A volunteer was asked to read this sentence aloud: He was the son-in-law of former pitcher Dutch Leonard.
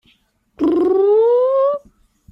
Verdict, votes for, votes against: rejected, 0, 2